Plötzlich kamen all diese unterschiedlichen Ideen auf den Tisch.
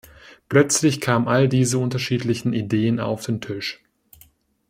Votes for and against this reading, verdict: 1, 2, rejected